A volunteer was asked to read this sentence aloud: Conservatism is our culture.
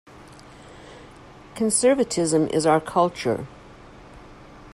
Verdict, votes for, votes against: accepted, 2, 0